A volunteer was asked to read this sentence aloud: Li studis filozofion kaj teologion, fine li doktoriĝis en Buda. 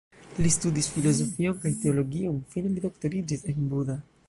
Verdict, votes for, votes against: rejected, 0, 2